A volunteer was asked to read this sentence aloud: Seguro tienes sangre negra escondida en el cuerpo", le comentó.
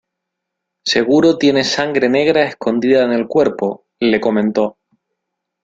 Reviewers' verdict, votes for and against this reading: accepted, 2, 1